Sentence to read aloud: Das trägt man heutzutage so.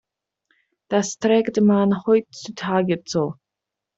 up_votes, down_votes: 2, 0